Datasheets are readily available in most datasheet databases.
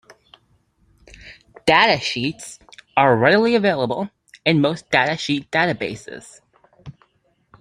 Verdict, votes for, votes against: accepted, 2, 0